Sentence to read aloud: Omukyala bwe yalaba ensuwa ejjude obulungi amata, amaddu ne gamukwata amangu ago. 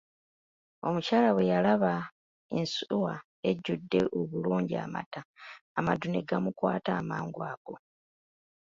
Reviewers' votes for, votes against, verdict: 2, 0, accepted